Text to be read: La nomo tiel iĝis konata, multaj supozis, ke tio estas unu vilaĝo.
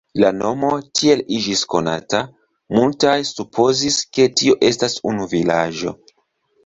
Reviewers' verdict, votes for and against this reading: accepted, 2, 0